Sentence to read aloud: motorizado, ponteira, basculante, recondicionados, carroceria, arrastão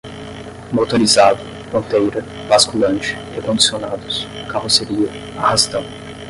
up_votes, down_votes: 0, 10